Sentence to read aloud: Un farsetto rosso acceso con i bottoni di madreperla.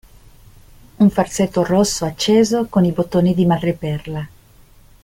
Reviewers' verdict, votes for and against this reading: accepted, 2, 0